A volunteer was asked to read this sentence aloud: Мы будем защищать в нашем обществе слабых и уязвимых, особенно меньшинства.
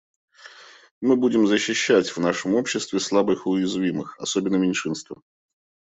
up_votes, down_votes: 2, 0